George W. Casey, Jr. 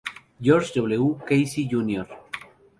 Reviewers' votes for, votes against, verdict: 0, 4, rejected